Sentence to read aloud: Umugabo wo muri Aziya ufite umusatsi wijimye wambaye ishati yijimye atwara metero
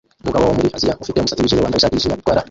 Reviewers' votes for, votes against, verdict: 0, 2, rejected